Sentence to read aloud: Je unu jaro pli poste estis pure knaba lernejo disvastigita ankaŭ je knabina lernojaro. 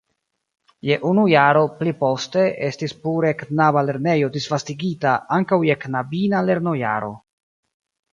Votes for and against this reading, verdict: 2, 0, accepted